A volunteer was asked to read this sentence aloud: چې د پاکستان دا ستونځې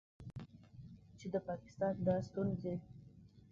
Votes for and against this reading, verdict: 1, 2, rejected